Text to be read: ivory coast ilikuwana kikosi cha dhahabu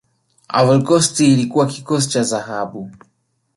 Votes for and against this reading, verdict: 1, 2, rejected